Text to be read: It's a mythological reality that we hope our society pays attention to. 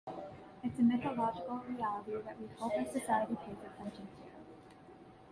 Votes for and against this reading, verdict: 1, 2, rejected